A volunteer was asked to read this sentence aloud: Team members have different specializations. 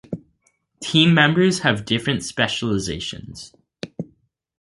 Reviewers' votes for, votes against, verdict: 2, 0, accepted